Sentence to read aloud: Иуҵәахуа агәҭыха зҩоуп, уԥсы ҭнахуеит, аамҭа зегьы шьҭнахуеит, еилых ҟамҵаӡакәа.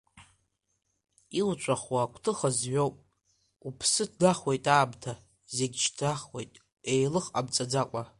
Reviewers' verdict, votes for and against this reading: accepted, 2, 1